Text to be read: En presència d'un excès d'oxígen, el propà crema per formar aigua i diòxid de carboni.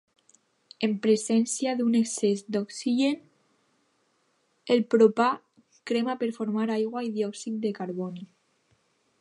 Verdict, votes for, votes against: accepted, 2, 1